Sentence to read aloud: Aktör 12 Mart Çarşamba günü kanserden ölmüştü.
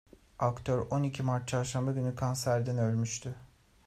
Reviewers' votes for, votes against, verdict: 0, 2, rejected